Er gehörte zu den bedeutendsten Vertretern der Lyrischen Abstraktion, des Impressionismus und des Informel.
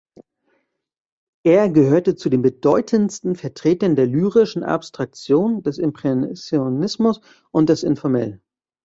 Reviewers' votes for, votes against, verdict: 1, 2, rejected